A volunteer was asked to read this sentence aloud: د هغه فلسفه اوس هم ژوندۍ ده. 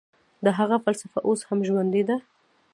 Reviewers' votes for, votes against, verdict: 0, 2, rejected